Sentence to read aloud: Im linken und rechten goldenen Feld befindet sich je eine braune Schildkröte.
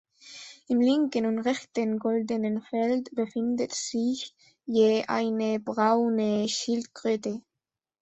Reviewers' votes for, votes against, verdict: 1, 2, rejected